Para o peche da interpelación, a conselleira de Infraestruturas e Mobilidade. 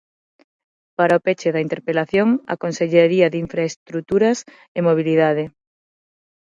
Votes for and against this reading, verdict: 0, 6, rejected